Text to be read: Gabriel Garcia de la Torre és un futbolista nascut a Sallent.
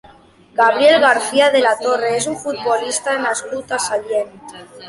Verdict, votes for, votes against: accepted, 2, 1